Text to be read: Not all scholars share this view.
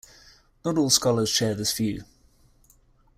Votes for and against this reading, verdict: 3, 0, accepted